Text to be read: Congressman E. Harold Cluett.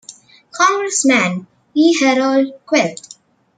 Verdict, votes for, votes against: accepted, 2, 0